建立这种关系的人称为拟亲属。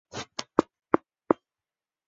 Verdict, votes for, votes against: rejected, 0, 2